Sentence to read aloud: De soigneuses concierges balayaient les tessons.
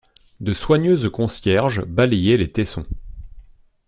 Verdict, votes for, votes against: accepted, 2, 0